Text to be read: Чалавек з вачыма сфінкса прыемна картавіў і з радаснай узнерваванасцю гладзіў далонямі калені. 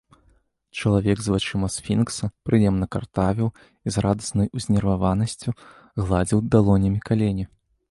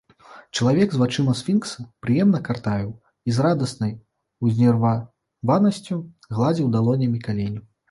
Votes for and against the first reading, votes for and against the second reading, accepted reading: 2, 0, 2, 3, first